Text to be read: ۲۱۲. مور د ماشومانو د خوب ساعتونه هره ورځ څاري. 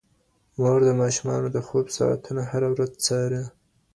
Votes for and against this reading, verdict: 0, 2, rejected